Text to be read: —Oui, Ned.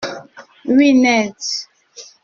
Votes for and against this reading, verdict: 1, 2, rejected